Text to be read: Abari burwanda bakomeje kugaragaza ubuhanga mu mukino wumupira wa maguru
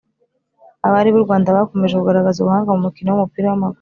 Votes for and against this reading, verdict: 1, 2, rejected